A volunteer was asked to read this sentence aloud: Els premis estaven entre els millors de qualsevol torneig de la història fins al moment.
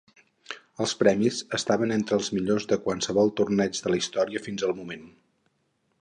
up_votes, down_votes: 2, 4